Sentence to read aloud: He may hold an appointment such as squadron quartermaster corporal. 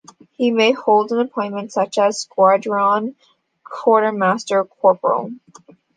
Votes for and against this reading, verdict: 2, 0, accepted